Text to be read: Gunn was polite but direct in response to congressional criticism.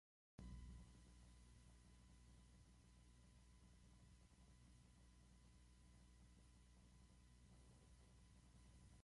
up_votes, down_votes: 0, 2